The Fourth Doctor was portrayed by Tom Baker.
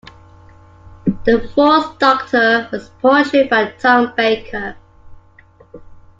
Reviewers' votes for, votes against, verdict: 2, 1, accepted